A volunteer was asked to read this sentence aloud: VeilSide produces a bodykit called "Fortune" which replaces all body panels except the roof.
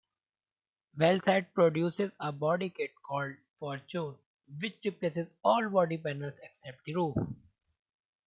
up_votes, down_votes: 2, 1